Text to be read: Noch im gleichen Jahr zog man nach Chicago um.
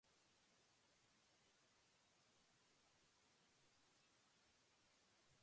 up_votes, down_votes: 0, 2